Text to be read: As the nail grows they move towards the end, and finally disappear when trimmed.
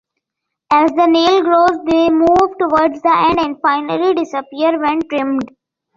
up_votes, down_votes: 2, 0